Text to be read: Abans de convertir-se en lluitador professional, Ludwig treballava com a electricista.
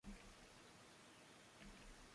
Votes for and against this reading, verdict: 0, 2, rejected